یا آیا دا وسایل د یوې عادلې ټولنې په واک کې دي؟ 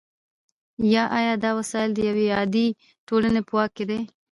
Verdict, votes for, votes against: accepted, 2, 0